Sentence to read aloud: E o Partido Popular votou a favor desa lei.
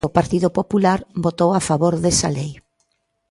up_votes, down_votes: 0, 2